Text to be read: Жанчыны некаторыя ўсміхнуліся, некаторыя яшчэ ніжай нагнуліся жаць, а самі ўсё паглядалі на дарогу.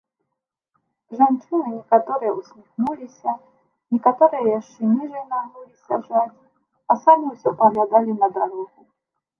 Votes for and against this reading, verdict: 0, 2, rejected